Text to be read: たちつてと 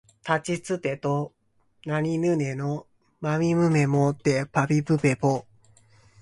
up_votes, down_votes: 1, 5